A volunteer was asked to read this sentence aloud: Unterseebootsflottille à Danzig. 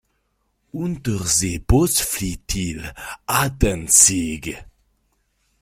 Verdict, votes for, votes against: accepted, 2, 1